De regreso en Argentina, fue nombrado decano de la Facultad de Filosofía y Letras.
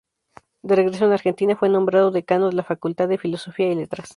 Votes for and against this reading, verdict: 2, 0, accepted